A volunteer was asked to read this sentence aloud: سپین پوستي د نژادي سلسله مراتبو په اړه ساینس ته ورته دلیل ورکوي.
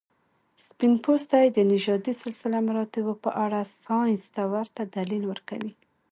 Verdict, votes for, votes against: accepted, 2, 0